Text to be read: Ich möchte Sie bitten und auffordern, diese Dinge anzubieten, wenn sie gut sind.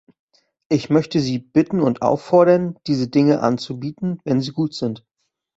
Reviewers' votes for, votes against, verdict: 2, 0, accepted